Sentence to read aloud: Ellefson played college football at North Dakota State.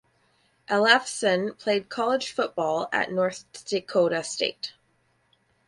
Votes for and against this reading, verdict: 2, 4, rejected